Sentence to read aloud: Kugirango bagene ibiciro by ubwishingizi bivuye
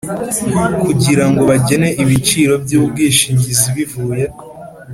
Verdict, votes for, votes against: accepted, 3, 0